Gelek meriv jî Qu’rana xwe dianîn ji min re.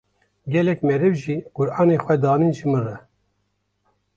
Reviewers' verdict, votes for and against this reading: accepted, 2, 1